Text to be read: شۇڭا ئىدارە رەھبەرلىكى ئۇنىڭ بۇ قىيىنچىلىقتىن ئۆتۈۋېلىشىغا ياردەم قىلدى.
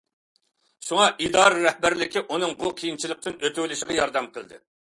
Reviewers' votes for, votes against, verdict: 2, 0, accepted